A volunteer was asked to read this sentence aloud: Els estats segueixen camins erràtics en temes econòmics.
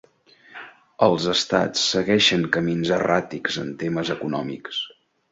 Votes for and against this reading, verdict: 2, 1, accepted